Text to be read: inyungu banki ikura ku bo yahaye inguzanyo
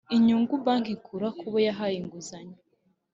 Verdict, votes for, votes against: accepted, 3, 0